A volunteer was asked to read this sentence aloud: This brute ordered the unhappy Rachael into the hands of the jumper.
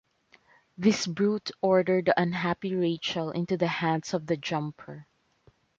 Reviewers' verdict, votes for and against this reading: rejected, 0, 2